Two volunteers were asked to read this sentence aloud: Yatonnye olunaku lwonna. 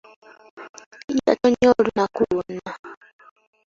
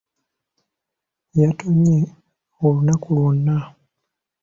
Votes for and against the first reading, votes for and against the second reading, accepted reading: 0, 2, 2, 0, second